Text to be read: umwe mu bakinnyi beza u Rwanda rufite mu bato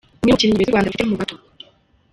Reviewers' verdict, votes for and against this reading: rejected, 0, 2